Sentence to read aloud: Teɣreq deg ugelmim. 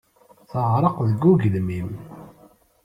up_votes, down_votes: 2, 0